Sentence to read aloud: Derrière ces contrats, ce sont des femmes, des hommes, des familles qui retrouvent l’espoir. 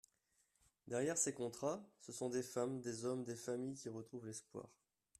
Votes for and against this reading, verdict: 2, 0, accepted